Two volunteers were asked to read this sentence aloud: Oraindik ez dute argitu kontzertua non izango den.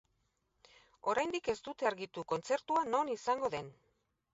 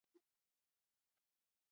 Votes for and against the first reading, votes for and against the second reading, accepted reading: 18, 0, 0, 4, first